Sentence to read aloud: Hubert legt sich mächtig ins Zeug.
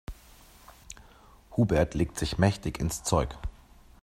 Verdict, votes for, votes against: accepted, 2, 0